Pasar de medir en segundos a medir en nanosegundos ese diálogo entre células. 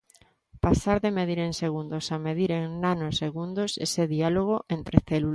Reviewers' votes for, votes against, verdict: 0, 2, rejected